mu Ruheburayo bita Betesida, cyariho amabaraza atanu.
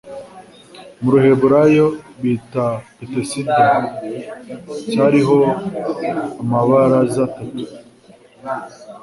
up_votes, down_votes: 0, 2